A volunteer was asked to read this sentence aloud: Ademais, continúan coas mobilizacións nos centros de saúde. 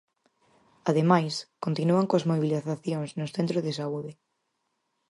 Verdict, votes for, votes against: rejected, 2, 2